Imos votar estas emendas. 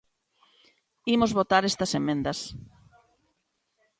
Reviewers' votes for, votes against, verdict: 2, 1, accepted